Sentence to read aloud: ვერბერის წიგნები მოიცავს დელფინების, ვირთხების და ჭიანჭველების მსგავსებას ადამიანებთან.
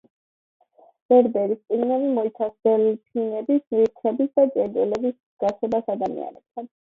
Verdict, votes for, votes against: accepted, 2, 0